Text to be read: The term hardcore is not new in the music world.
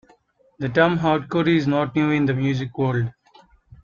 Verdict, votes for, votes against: accepted, 2, 0